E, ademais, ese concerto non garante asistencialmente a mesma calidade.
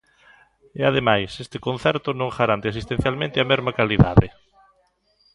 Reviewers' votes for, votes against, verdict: 0, 2, rejected